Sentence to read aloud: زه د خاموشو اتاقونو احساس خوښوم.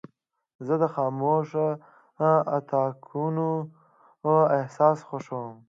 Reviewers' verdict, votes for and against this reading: rejected, 1, 2